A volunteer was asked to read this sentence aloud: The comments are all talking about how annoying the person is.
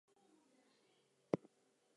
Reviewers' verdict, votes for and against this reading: rejected, 0, 2